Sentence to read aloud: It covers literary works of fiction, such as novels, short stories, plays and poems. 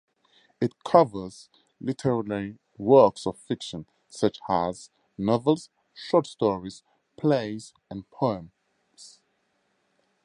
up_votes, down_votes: 0, 2